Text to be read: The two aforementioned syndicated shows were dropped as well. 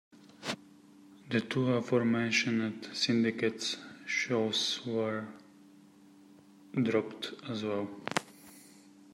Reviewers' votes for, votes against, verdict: 2, 1, accepted